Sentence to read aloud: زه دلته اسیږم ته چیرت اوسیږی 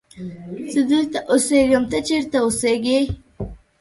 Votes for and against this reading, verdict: 2, 0, accepted